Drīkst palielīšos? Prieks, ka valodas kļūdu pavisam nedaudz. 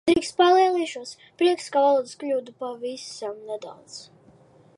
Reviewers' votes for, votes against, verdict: 2, 1, accepted